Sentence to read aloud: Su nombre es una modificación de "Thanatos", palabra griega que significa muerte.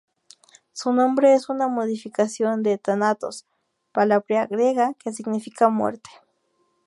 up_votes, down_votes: 0, 2